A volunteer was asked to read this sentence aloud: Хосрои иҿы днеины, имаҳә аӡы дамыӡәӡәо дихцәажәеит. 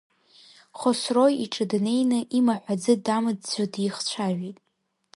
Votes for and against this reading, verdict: 1, 2, rejected